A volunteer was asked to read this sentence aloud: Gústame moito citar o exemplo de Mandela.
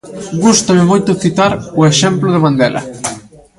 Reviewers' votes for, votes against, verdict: 2, 0, accepted